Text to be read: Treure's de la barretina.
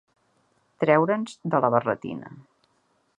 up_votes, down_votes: 1, 2